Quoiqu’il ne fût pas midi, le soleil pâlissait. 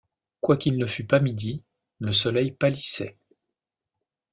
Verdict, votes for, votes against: accepted, 2, 0